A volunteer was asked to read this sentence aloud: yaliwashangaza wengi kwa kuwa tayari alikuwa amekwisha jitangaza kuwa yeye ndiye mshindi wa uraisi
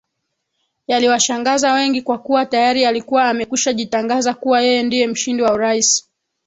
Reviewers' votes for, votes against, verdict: 0, 2, rejected